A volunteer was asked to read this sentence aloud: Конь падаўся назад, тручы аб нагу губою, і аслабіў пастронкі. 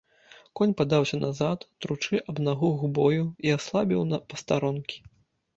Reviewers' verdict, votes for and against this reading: rejected, 0, 2